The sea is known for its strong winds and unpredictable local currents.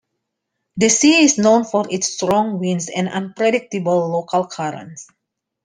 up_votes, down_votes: 1, 2